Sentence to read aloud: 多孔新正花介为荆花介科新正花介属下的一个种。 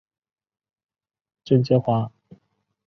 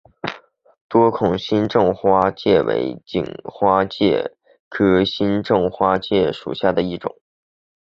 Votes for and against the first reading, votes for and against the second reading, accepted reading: 1, 2, 3, 0, second